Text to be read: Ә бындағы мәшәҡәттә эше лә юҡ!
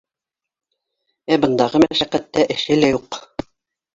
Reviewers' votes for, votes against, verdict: 0, 2, rejected